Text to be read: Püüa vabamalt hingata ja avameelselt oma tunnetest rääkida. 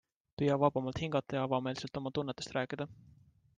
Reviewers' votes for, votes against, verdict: 2, 1, accepted